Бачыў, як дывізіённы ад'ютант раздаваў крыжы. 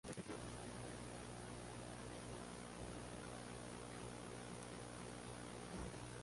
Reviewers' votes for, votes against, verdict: 0, 2, rejected